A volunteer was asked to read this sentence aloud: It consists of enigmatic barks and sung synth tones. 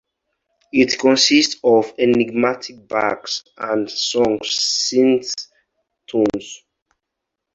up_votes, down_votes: 4, 2